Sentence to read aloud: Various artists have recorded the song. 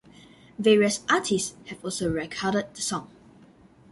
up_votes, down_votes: 1, 2